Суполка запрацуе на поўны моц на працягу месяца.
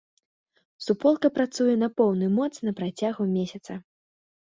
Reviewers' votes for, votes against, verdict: 0, 2, rejected